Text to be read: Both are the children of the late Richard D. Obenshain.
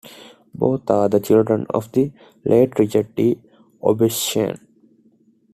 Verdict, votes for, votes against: accepted, 2, 0